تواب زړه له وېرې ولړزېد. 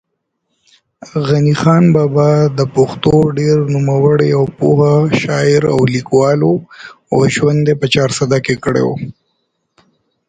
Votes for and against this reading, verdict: 1, 2, rejected